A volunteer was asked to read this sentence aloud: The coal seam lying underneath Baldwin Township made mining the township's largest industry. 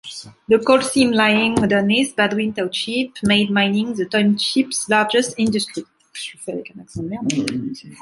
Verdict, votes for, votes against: rejected, 0, 2